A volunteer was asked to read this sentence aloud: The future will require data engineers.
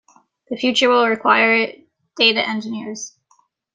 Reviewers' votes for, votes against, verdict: 1, 2, rejected